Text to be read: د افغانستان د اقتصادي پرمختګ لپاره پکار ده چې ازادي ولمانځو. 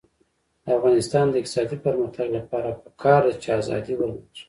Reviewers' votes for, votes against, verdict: 1, 2, rejected